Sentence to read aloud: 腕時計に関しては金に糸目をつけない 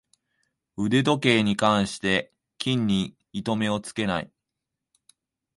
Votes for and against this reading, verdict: 1, 2, rejected